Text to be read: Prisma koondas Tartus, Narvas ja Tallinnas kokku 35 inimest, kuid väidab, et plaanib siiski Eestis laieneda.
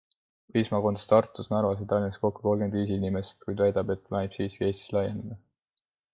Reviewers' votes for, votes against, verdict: 0, 2, rejected